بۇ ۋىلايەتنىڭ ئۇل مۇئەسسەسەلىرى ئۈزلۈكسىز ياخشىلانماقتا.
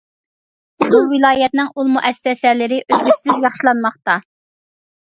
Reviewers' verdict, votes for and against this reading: rejected, 0, 2